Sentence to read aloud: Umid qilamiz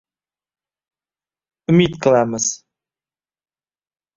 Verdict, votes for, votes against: accepted, 2, 0